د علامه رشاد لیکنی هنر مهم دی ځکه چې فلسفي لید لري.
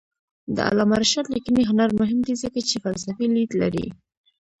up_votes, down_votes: 1, 2